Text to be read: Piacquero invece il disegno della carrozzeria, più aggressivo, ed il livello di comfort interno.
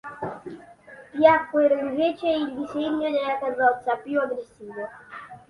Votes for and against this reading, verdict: 0, 2, rejected